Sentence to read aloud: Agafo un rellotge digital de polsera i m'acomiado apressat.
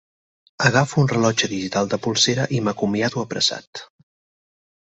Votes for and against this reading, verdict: 0, 4, rejected